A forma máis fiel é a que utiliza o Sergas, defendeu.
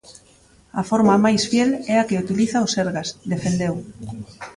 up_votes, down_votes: 1, 2